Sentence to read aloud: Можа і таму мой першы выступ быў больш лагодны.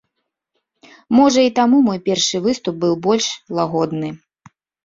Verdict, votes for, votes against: accepted, 2, 0